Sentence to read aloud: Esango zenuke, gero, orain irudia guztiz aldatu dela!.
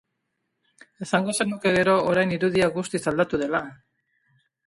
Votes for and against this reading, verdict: 2, 0, accepted